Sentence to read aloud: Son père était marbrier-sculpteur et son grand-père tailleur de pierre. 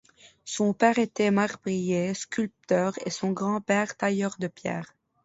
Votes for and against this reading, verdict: 2, 0, accepted